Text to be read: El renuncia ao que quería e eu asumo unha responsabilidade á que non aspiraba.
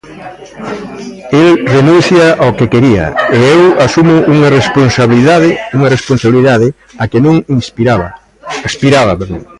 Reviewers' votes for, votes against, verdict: 0, 2, rejected